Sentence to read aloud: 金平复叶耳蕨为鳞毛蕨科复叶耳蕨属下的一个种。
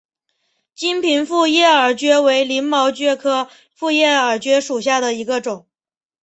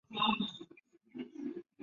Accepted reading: first